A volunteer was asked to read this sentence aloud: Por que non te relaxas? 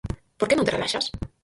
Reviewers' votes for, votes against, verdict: 0, 4, rejected